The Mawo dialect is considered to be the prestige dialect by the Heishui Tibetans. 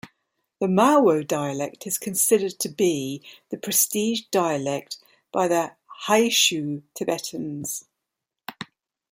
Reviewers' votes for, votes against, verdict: 1, 2, rejected